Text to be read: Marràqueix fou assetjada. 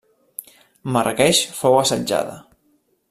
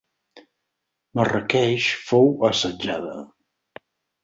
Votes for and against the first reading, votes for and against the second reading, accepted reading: 0, 2, 6, 0, second